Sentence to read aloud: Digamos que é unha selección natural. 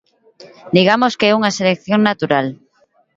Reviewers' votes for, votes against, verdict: 2, 0, accepted